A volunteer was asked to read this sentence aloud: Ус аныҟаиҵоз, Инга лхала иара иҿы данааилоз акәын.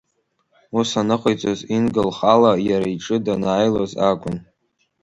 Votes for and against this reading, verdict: 2, 0, accepted